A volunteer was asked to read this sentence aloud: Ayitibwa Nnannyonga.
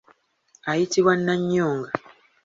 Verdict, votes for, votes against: accepted, 2, 0